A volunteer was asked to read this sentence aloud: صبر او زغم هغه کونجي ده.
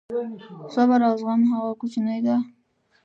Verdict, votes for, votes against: rejected, 1, 2